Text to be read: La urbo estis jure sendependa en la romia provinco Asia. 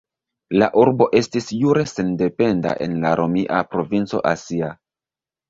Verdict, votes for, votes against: accepted, 2, 0